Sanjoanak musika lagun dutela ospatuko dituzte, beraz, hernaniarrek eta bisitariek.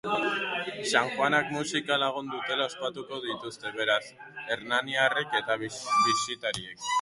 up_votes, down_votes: 2, 2